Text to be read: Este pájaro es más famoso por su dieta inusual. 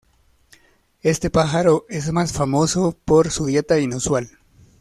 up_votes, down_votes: 2, 0